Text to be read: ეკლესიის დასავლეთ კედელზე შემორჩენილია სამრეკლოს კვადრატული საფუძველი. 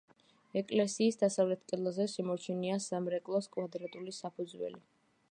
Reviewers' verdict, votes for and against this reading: accepted, 2, 0